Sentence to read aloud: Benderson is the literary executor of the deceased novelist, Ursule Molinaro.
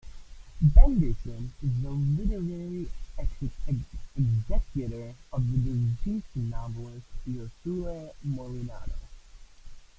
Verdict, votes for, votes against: rejected, 0, 2